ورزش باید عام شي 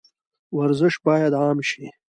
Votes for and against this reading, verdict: 2, 0, accepted